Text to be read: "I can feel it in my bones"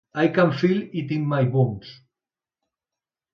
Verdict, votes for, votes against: accepted, 2, 1